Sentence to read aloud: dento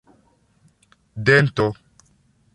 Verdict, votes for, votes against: accepted, 2, 1